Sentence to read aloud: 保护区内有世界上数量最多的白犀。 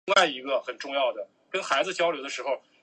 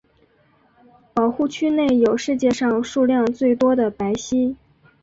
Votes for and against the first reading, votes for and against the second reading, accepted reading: 0, 2, 2, 1, second